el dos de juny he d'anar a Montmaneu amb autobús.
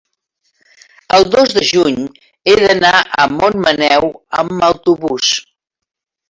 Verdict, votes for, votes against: accepted, 3, 1